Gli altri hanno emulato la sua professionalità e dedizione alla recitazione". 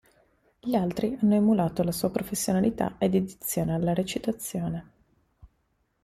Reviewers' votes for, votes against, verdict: 2, 0, accepted